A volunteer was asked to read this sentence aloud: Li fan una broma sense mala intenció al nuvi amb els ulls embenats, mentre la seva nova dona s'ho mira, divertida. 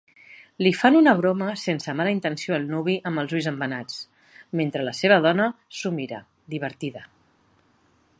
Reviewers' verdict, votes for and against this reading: accepted, 3, 1